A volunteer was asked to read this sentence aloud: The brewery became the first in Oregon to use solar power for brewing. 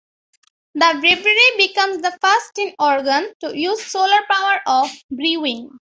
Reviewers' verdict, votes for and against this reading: rejected, 0, 2